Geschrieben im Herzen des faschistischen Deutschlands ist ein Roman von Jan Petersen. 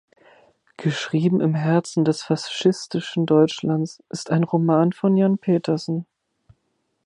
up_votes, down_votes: 1, 4